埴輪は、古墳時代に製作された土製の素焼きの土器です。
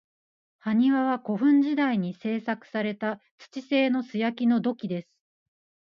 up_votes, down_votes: 2, 1